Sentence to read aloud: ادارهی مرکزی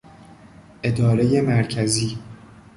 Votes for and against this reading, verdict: 2, 0, accepted